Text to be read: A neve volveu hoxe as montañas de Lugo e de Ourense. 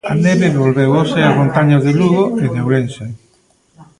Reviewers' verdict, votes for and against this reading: rejected, 1, 2